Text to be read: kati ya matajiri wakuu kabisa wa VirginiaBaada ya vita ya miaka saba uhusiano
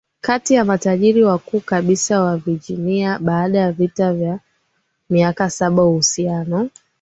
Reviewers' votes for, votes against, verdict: 3, 0, accepted